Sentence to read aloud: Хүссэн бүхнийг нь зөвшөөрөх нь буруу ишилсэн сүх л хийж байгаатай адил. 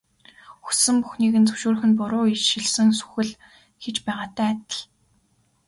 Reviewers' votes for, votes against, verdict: 2, 0, accepted